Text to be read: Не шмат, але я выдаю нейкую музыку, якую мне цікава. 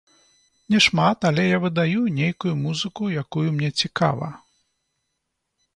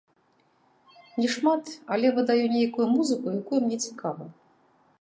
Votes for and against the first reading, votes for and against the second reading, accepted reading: 2, 0, 0, 2, first